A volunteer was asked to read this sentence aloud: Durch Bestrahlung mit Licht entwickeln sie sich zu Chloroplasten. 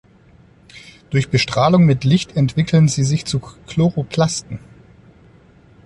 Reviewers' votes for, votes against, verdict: 2, 0, accepted